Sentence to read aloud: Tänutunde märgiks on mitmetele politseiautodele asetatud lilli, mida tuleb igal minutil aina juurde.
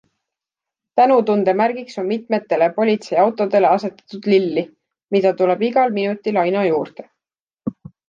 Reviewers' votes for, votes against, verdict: 2, 0, accepted